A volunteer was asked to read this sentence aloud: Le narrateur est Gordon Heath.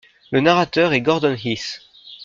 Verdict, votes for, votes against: accepted, 2, 0